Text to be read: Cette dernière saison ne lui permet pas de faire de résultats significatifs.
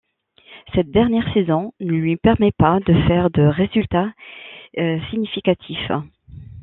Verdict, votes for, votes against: rejected, 0, 2